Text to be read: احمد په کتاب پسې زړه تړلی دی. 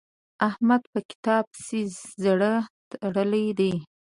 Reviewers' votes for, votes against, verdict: 2, 0, accepted